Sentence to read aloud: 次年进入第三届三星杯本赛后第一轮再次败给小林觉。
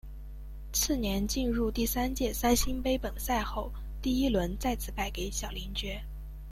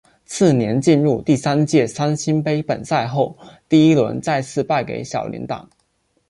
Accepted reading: first